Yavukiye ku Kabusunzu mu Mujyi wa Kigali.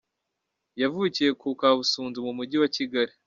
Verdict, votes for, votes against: rejected, 1, 2